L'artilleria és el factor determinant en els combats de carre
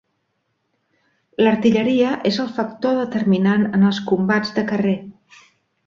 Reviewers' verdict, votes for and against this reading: rejected, 0, 2